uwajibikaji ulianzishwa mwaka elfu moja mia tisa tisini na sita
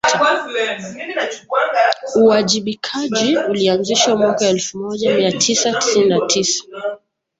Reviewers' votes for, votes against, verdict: 0, 2, rejected